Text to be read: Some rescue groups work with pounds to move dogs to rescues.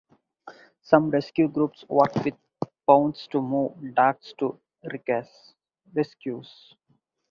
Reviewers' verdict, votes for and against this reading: rejected, 0, 4